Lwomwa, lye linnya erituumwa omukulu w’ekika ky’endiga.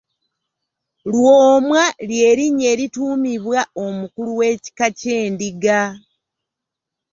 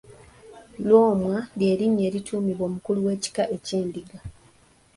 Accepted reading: second